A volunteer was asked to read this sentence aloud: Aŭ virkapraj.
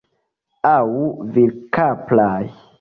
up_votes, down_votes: 2, 1